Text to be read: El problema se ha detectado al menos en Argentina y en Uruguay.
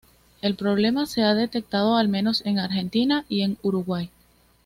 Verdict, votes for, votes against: accepted, 2, 0